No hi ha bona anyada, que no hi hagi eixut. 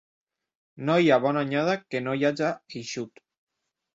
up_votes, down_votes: 0, 2